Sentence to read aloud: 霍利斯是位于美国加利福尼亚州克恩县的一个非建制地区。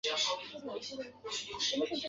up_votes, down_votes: 1, 3